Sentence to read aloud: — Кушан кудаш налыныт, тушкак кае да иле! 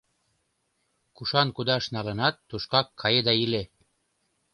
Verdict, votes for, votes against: rejected, 1, 2